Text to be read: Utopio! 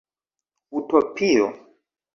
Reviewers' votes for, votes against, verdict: 1, 2, rejected